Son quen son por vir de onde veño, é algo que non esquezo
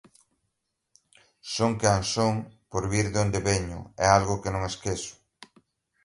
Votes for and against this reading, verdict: 2, 0, accepted